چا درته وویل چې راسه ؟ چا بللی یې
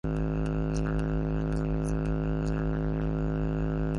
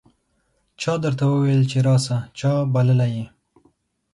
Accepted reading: second